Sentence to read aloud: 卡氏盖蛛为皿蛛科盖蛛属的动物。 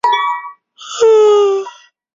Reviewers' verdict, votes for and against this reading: rejected, 0, 2